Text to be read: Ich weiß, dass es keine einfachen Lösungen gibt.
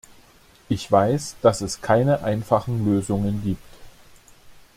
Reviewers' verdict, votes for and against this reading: accepted, 2, 0